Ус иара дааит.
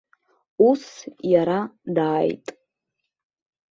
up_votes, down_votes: 2, 0